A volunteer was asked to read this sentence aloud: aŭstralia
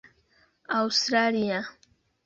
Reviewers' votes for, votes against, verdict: 0, 2, rejected